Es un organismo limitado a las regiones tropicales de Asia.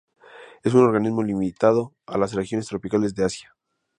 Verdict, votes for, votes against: accepted, 2, 0